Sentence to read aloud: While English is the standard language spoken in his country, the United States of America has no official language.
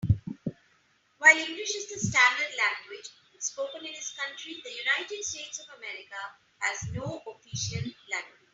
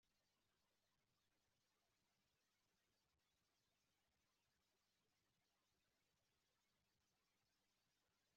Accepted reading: first